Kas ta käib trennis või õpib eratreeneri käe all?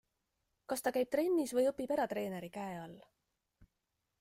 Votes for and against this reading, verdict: 2, 0, accepted